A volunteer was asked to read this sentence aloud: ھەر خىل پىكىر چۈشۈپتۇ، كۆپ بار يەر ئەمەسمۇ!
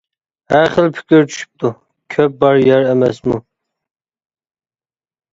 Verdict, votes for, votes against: accepted, 2, 0